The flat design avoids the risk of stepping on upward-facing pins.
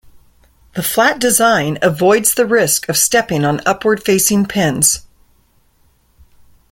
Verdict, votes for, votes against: accepted, 2, 0